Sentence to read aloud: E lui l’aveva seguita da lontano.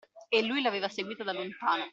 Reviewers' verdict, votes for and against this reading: accepted, 2, 0